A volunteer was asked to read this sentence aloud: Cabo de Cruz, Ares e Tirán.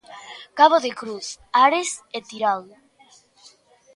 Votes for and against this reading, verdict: 3, 0, accepted